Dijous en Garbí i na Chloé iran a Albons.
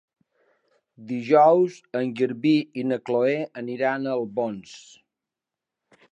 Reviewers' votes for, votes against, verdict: 1, 2, rejected